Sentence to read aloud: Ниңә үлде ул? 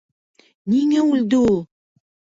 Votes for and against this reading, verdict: 1, 2, rejected